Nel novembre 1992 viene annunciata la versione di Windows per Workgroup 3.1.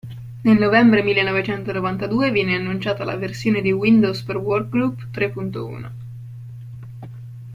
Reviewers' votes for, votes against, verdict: 0, 2, rejected